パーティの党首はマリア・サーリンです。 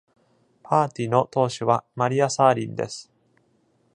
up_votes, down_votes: 2, 0